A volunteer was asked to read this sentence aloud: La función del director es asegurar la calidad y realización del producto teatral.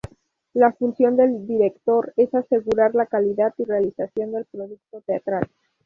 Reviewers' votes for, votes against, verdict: 0, 2, rejected